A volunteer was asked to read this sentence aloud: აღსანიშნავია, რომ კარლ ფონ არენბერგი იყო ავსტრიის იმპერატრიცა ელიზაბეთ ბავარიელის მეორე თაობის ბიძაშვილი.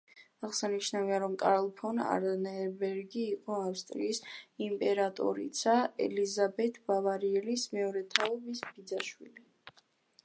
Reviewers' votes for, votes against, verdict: 0, 2, rejected